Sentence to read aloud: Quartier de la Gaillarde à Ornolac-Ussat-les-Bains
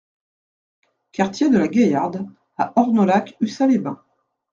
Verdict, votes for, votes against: accepted, 2, 0